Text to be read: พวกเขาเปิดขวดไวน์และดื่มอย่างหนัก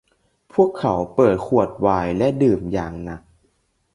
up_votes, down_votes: 2, 0